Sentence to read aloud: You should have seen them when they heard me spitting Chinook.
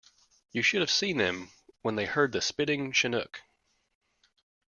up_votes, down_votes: 1, 2